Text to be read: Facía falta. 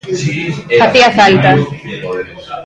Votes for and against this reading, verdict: 0, 2, rejected